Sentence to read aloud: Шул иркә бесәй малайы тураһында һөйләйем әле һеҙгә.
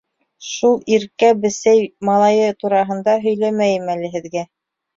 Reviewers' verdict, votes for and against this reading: rejected, 0, 2